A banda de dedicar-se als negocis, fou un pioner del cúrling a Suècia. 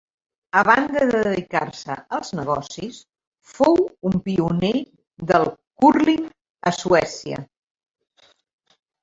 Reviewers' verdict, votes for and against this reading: accepted, 4, 0